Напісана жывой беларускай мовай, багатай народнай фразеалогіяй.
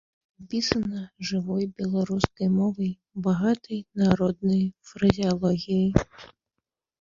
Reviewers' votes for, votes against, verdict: 0, 3, rejected